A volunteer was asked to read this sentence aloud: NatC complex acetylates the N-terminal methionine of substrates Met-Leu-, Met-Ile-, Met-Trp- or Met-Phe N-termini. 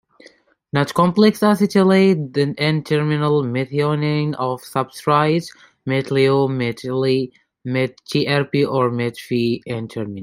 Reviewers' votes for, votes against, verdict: 0, 2, rejected